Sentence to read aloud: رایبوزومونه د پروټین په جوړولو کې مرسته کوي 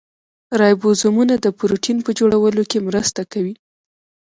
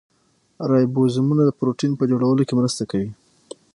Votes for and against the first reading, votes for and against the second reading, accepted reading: 1, 2, 6, 3, second